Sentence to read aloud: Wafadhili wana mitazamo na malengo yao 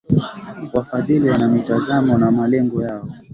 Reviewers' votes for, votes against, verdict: 2, 0, accepted